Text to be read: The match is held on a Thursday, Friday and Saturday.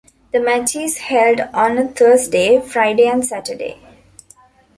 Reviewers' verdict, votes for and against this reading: accepted, 2, 0